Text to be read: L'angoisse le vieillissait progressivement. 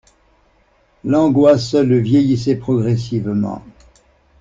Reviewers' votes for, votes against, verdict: 2, 0, accepted